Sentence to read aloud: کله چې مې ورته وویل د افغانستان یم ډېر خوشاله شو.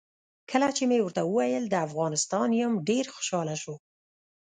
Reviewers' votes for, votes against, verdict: 0, 2, rejected